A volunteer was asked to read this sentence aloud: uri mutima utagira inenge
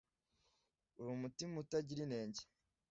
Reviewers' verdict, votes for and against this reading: accepted, 2, 0